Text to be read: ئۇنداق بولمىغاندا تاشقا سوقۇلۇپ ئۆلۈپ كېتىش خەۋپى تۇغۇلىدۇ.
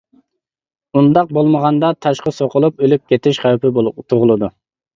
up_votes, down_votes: 1, 2